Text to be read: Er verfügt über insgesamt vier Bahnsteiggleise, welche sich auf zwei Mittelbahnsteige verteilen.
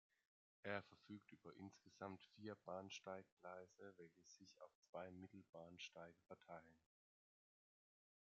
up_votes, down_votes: 2, 0